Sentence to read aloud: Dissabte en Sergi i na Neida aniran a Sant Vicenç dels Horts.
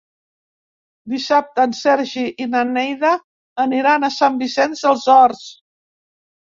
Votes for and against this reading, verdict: 3, 0, accepted